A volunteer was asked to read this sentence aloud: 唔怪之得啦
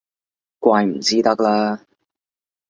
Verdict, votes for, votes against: rejected, 1, 2